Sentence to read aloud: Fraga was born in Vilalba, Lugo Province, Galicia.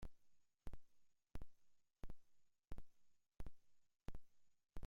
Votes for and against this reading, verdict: 0, 2, rejected